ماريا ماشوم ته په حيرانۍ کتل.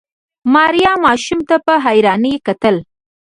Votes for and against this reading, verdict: 1, 2, rejected